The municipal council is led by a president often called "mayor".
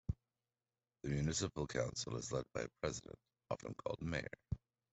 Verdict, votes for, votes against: rejected, 0, 2